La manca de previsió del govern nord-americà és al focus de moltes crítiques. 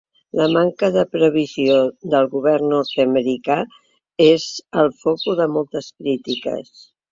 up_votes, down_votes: 4, 1